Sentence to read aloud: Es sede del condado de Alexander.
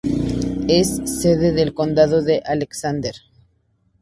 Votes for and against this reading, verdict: 2, 0, accepted